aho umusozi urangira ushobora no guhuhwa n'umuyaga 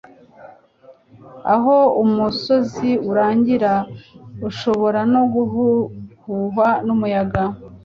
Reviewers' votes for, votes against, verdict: 0, 2, rejected